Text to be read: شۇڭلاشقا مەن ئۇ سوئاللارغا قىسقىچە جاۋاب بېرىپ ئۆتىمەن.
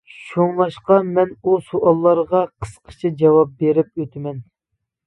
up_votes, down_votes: 2, 0